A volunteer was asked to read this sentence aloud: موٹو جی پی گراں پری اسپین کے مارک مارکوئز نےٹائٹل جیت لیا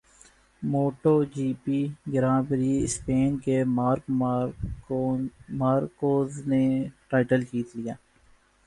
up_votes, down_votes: 1, 2